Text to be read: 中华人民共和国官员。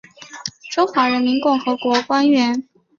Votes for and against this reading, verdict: 2, 0, accepted